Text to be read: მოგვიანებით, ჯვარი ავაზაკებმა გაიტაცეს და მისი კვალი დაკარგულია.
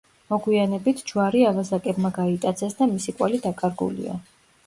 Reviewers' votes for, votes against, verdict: 2, 0, accepted